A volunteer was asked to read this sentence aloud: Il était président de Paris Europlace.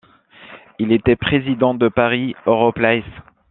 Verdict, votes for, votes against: rejected, 1, 2